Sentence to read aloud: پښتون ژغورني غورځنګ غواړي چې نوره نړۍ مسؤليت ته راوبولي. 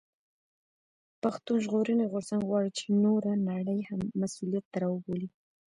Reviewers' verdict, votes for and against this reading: rejected, 1, 2